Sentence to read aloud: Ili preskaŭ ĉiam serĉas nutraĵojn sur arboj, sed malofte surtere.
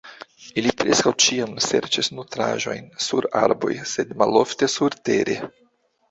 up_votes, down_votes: 1, 2